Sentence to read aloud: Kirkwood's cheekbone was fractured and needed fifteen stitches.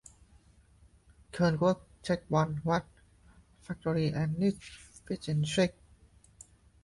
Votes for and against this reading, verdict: 0, 2, rejected